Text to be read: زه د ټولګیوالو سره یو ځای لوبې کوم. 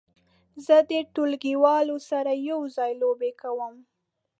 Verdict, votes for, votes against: accepted, 2, 0